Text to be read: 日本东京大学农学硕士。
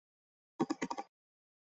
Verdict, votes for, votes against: rejected, 0, 4